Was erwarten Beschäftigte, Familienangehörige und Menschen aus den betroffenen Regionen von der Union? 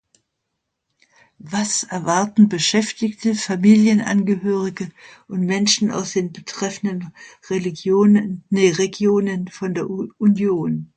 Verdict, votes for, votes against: rejected, 0, 2